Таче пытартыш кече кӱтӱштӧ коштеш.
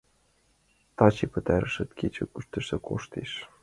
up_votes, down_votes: 0, 2